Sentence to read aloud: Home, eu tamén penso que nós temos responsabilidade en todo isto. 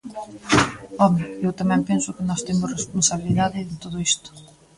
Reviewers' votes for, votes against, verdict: 0, 2, rejected